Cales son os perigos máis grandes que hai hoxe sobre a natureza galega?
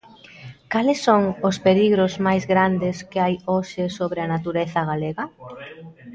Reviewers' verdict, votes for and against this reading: rejected, 0, 2